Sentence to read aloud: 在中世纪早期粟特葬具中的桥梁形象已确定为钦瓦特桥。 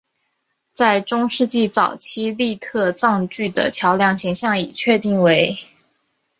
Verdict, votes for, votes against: rejected, 1, 3